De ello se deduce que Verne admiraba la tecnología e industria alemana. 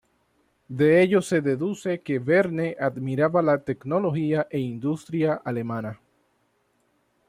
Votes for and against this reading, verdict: 2, 0, accepted